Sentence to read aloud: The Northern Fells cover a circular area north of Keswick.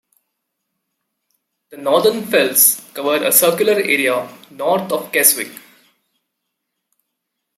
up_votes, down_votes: 2, 0